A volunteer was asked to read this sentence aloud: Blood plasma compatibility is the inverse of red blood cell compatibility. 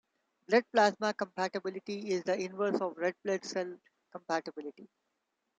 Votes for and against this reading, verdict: 1, 2, rejected